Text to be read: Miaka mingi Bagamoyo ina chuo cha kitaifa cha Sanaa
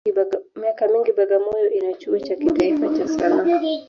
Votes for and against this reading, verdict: 0, 2, rejected